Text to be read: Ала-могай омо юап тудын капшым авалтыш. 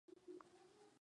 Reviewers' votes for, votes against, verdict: 0, 2, rejected